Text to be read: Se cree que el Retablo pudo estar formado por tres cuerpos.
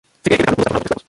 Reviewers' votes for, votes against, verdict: 0, 2, rejected